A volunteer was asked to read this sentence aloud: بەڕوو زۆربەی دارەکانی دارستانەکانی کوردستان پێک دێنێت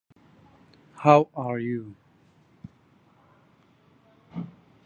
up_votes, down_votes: 0, 2